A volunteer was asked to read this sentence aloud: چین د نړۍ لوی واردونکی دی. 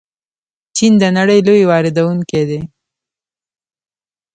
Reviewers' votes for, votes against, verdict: 0, 2, rejected